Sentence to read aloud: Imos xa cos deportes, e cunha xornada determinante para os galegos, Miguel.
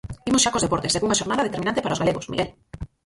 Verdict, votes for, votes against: rejected, 0, 4